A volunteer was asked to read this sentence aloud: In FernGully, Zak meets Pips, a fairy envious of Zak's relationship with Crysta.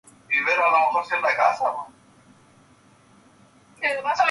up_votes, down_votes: 0, 2